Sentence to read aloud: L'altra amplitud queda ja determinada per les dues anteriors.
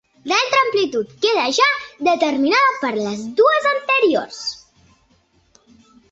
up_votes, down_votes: 2, 0